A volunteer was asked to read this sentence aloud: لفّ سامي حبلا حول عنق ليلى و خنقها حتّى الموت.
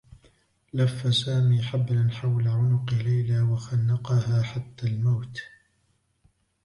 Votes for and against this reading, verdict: 1, 2, rejected